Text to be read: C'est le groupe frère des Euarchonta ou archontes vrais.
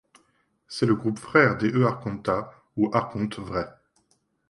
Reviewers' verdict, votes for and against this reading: accepted, 2, 0